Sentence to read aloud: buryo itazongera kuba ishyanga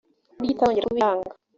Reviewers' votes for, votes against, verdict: 0, 2, rejected